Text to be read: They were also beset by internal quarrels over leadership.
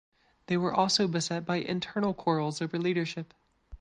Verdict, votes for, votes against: accepted, 2, 0